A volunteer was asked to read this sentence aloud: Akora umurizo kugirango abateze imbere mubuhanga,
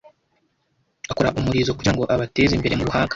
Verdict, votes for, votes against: rejected, 1, 2